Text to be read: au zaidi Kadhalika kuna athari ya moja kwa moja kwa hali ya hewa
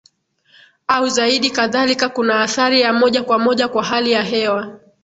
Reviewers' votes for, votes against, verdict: 3, 4, rejected